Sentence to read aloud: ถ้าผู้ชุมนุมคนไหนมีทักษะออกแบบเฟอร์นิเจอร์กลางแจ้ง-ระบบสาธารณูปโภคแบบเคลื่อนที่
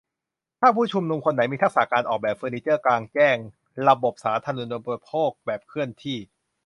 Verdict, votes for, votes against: rejected, 1, 2